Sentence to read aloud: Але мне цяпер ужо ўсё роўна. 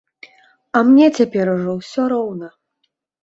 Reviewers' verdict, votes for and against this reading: rejected, 1, 2